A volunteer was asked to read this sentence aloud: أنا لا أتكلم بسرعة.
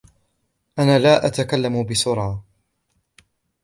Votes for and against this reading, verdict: 2, 0, accepted